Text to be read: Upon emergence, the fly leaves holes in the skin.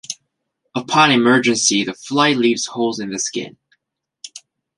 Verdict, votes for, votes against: rejected, 0, 2